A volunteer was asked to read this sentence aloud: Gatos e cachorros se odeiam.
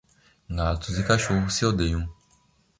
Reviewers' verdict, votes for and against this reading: rejected, 0, 2